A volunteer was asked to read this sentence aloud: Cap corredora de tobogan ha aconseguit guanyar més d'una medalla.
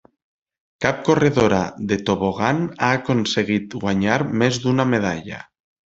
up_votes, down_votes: 3, 0